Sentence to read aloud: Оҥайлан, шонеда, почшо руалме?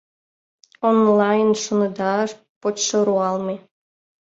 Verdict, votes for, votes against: rejected, 0, 2